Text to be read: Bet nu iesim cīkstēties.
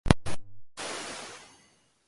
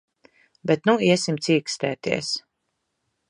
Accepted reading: second